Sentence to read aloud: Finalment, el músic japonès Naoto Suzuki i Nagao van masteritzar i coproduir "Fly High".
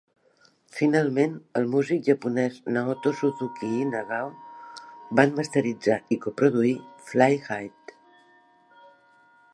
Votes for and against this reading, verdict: 2, 1, accepted